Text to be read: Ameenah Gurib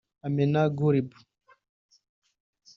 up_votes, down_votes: 2, 1